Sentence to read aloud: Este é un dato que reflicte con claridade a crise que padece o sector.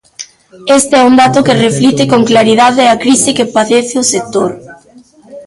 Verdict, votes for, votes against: rejected, 0, 2